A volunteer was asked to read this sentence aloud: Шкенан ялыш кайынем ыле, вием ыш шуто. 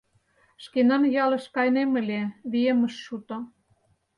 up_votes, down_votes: 4, 0